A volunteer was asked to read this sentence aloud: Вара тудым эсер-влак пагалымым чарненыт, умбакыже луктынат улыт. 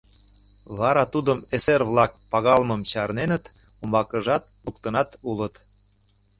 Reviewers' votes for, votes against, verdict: 0, 2, rejected